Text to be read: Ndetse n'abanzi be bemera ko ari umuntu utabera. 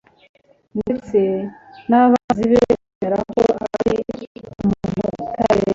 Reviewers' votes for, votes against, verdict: 1, 2, rejected